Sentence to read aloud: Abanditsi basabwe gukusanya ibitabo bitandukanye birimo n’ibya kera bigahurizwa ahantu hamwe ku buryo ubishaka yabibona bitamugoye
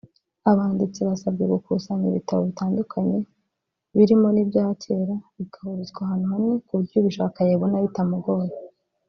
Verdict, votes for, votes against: rejected, 1, 2